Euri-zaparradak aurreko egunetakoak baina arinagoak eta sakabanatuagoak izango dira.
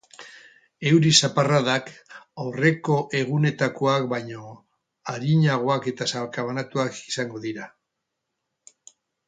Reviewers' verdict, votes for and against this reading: rejected, 0, 2